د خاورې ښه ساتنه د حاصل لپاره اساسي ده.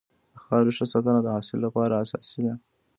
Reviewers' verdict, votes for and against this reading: rejected, 1, 2